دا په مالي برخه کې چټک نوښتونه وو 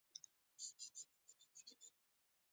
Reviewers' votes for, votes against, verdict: 1, 2, rejected